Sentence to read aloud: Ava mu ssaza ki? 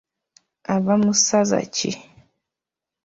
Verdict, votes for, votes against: rejected, 1, 2